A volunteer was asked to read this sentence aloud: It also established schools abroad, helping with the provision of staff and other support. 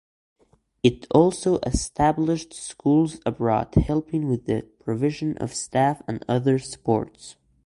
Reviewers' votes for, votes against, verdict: 0, 2, rejected